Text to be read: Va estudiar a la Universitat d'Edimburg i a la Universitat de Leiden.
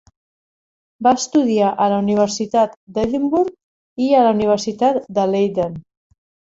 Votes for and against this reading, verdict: 0, 2, rejected